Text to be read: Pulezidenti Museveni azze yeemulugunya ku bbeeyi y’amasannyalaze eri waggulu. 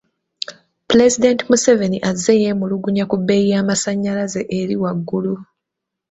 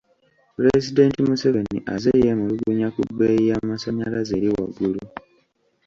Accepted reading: first